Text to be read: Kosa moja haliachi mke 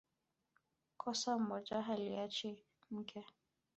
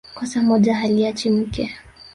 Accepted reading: first